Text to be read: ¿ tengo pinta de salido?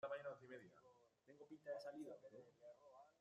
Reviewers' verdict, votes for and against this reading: rejected, 0, 2